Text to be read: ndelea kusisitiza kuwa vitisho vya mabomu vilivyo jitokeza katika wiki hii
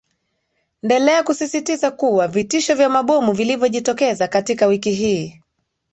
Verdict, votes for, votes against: accepted, 3, 0